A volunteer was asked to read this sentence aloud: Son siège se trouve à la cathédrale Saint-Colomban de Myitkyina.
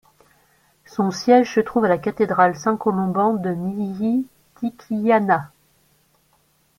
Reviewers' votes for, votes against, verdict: 1, 2, rejected